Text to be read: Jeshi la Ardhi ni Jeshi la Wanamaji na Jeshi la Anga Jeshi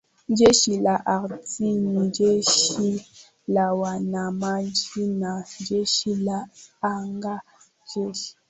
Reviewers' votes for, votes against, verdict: 4, 2, accepted